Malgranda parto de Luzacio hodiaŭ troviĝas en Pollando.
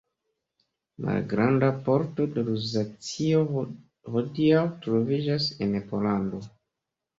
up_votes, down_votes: 1, 2